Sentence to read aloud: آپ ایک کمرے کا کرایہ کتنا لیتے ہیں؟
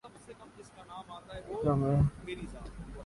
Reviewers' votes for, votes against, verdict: 1, 3, rejected